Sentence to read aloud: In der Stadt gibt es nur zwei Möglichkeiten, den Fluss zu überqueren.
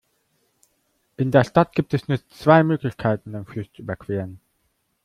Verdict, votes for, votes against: accepted, 2, 0